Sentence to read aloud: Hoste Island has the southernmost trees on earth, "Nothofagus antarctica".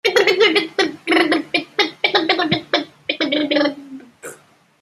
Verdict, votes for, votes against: rejected, 0, 2